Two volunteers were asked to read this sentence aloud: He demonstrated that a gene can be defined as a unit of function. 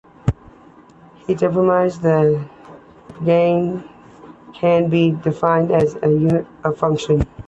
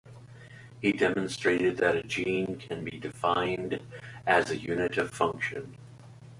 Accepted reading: second